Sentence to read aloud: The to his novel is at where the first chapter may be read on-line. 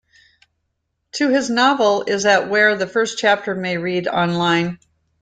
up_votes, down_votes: 0, 2